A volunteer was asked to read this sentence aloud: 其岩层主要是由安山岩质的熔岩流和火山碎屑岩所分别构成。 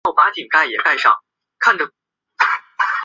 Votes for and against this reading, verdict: 2, 1, accepted